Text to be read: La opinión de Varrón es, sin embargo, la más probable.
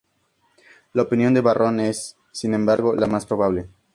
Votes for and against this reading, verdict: 2, 0, accepted